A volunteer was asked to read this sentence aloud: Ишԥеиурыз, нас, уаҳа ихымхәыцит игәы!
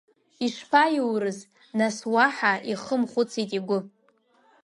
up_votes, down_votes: 1, 2